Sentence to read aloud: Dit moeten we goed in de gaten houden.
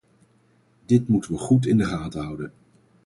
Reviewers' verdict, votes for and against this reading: accepted, 4, 0